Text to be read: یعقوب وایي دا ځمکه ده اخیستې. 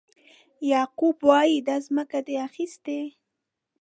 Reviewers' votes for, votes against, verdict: 1, 2, rejected